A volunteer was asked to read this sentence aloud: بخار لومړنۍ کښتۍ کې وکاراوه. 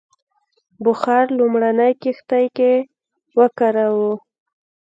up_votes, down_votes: 3, 0